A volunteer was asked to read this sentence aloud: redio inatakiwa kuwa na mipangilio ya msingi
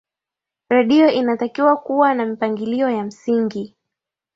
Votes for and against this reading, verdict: 2, 0, accepted